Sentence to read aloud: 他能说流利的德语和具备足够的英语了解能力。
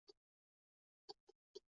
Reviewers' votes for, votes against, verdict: 1, 4, rejected